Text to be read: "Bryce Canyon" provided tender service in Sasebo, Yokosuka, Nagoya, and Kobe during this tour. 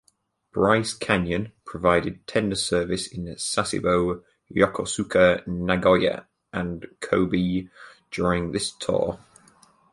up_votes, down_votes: 4, 0